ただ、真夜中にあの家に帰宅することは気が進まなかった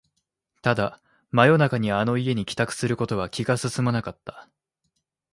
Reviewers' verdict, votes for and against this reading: accepted, 2, 0